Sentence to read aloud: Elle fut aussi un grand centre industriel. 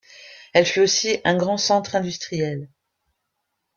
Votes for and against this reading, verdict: 2, 0, accepted